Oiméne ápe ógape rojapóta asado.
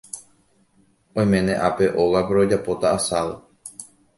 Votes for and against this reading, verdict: 2, 0, accepted